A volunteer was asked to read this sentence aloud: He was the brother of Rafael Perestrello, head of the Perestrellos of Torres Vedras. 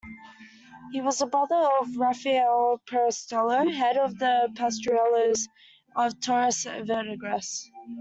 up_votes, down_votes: 0, 2